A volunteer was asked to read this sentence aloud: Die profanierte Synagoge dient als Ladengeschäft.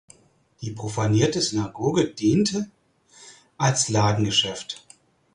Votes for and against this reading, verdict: 0, 4, rejected